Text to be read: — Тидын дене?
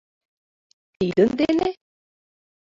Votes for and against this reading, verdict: 2, 0, accepted